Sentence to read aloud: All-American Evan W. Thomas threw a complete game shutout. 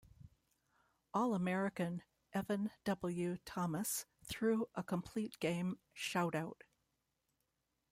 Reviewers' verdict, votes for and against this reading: rejected, 1, 2